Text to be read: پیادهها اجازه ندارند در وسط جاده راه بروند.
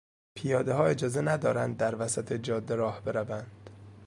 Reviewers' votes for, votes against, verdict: 2, 0, accepted